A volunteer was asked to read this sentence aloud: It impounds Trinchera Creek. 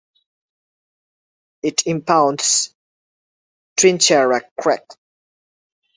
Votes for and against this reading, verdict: 0, 2, rejected